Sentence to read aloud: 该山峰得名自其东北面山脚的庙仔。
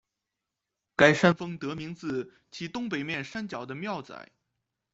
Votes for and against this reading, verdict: 2, 0, accepted